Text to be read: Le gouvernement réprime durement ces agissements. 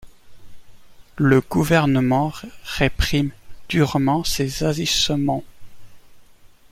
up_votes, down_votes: 1, 2